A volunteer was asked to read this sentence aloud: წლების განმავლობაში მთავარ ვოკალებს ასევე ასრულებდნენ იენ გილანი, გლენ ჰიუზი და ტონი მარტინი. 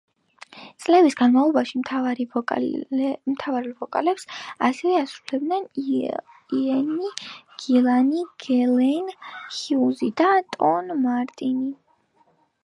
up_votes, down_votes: 2, 3